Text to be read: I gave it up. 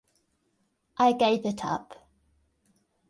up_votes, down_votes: 3, 0